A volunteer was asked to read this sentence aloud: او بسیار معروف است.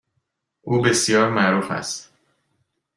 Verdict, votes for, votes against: accepted, 2, 0